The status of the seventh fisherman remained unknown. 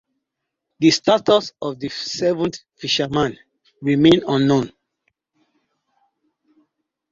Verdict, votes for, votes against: accepted, 2, 0